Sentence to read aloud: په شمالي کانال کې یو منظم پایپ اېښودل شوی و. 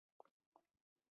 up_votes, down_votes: 1, 2